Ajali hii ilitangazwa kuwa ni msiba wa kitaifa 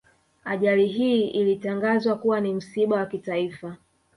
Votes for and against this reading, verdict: 1, 2, rejected